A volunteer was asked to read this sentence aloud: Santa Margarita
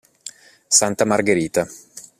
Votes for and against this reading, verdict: 1, 2, rejected